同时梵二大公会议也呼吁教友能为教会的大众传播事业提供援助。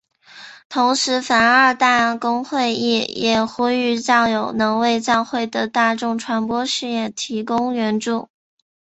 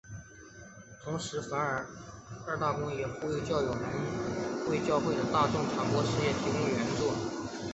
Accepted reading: first